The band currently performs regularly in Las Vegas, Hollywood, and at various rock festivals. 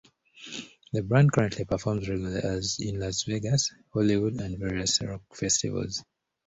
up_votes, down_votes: 0, 2